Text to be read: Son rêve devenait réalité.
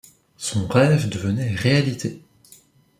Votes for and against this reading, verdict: 2, 0, accepted